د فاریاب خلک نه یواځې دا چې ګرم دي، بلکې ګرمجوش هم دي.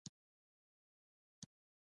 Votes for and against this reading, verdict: 1, 2, rejected